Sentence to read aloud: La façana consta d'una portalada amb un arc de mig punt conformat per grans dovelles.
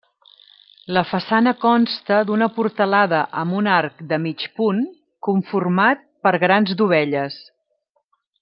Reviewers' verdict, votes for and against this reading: rejected, 0, 2